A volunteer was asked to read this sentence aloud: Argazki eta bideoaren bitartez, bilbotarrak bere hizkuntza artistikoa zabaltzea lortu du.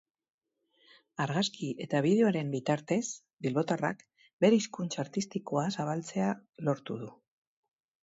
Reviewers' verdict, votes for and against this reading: rejected, 2, 2